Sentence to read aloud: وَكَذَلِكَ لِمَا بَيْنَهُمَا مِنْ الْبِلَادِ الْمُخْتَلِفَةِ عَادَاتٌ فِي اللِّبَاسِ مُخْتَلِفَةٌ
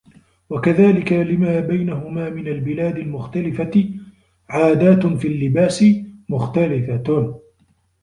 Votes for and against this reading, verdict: 2, 0, accepted